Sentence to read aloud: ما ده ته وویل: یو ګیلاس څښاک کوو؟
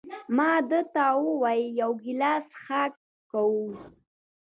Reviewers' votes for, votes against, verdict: 1, 2, rejected